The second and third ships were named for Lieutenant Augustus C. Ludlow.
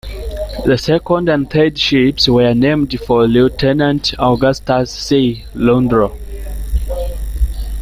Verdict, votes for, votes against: rejected, 1, 2